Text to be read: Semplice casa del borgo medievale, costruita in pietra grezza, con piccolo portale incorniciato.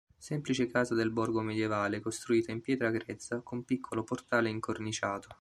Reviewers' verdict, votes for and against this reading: accepted, 2, 0